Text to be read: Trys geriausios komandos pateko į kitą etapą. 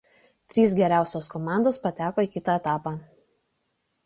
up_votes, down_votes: 2, 0